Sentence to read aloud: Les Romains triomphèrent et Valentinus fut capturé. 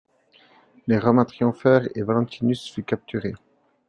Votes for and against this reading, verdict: 3, 1, accepted